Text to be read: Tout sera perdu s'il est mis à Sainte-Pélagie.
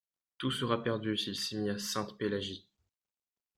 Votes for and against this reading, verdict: 2, 1, accepted